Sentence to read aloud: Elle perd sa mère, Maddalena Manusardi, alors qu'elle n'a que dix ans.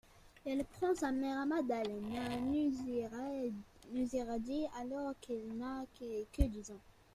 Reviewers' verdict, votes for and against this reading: rejected, 0, 2